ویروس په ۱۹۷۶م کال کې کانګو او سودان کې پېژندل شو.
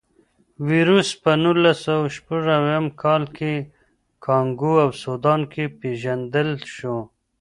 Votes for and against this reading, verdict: 0, 2, rejected